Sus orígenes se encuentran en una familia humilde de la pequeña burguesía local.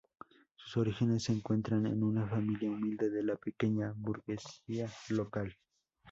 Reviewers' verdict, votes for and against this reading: rejected, 0, 2